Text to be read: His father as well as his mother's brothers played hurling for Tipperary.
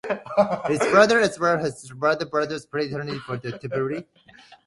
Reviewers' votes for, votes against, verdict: 1, 2, rejected